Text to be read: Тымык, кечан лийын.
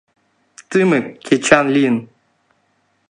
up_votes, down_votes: 2, 0